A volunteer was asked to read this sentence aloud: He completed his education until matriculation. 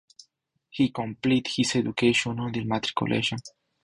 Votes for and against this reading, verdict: 0, 4, rejected